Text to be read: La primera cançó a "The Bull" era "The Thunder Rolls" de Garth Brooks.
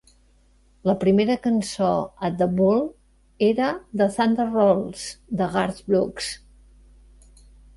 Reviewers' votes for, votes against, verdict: 2, 0, accepted